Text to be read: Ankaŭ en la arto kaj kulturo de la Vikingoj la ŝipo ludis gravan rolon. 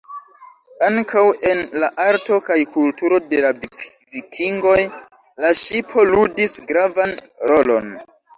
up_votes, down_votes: 2, 1